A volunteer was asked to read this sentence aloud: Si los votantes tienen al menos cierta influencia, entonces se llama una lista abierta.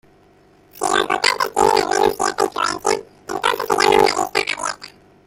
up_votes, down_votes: 1, 2